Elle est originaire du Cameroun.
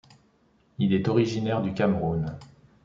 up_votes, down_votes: 1, 2